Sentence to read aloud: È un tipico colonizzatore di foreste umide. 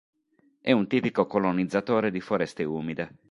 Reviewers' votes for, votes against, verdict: 3, 0, accepted